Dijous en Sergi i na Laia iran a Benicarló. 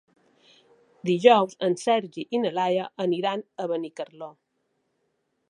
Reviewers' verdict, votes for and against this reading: rejected, 1, 2